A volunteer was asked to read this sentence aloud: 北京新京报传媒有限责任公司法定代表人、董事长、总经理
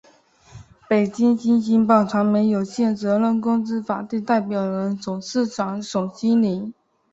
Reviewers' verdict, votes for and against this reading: accepted, 7, 1